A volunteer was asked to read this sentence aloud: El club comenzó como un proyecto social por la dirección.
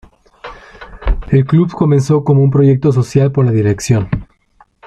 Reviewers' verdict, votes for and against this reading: accepted, 2, 0